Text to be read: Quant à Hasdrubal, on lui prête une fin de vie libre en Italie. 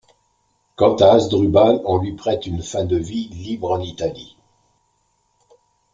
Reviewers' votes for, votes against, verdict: 2, 0, accepted